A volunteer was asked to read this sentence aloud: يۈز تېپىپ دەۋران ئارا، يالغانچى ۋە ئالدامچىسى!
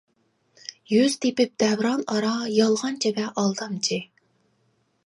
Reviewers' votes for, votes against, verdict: 1, 2, rejected